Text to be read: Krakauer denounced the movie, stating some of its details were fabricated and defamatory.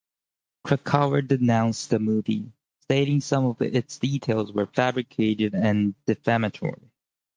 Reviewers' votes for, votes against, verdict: 4, 0, accepted